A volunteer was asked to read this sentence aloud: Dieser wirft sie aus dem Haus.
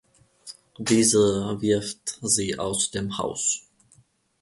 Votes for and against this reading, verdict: 2, 0, accepted